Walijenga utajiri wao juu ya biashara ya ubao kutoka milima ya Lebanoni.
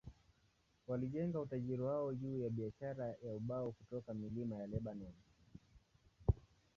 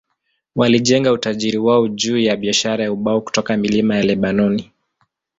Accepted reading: second